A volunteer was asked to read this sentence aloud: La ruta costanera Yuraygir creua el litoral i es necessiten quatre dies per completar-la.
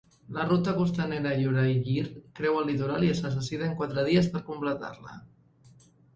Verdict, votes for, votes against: accepted, 2, 0